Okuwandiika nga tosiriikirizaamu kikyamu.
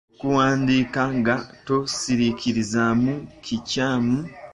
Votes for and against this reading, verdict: 1, 2, rejected